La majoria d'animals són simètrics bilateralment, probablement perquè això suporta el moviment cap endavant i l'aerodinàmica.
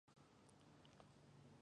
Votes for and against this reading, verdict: 0, 3, rejected